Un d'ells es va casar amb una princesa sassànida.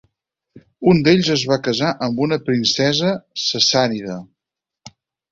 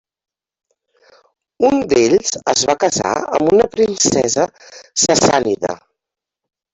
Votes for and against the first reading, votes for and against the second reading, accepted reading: 8, 0, 0, 2, first